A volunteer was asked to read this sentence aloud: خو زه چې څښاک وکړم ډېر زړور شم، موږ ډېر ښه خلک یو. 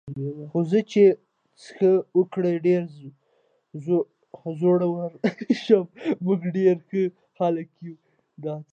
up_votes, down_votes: 1, 2